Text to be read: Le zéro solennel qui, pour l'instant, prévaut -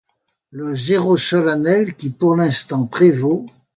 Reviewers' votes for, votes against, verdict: 2, 0, accepted